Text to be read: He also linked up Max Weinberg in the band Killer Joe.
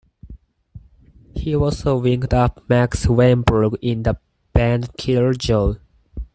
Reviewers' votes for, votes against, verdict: 4, 2, accepted